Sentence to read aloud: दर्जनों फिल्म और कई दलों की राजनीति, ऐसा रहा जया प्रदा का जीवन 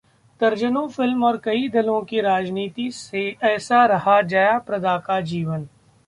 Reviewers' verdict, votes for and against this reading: rejected, 1, 2